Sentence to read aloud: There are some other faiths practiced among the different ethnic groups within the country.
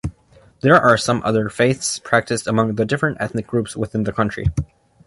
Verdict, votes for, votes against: accepted, 2, 0